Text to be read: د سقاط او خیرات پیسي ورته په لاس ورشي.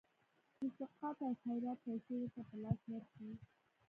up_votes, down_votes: 1, 2